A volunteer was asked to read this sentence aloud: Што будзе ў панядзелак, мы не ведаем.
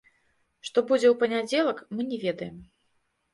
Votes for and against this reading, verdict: 1, 2, rejected